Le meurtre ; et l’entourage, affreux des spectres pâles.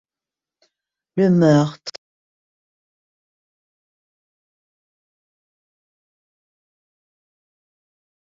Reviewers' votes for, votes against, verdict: 0, 2, rejected